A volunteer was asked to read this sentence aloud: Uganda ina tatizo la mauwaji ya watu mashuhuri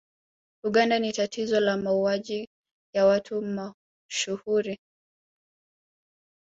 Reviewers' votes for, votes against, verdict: 1, 2, rejected